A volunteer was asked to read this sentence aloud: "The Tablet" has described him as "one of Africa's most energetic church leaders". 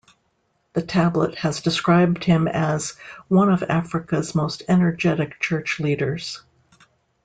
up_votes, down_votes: 2, 0